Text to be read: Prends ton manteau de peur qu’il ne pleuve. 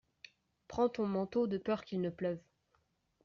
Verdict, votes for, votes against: accepted, 2, 0